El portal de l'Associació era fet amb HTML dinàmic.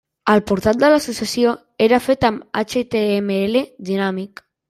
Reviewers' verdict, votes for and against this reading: rejected, 1, 2